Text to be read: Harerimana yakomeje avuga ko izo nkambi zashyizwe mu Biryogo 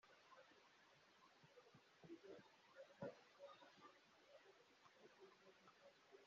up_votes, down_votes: 0, 4